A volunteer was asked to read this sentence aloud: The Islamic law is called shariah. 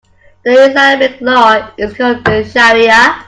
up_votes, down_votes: 0, 2